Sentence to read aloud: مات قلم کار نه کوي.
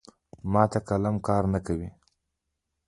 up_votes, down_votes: 0, 2